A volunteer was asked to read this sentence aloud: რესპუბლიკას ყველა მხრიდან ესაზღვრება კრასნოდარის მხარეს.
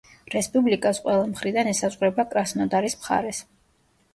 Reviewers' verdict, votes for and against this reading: rejected, 1, 2